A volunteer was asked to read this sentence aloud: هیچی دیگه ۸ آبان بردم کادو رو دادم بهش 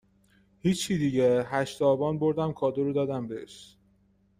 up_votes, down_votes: 0, 2